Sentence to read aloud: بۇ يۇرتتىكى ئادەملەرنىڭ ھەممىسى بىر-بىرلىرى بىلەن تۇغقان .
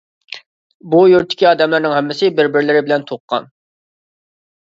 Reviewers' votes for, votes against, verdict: 2, 0, accepted